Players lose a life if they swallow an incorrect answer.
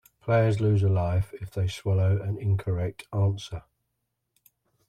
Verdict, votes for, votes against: accepted, 2, 1